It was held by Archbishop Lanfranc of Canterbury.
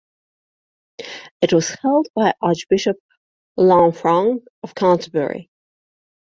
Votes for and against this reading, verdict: 2, 0, accepted